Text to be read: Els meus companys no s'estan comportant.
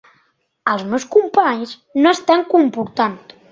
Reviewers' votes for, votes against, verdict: 2, 1, accepted